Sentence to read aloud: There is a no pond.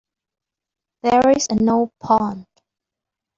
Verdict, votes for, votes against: rejected, 0, 2